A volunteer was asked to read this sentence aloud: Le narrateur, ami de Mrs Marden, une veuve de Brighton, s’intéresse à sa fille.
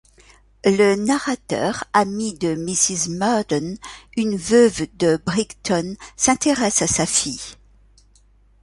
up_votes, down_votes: 1, 2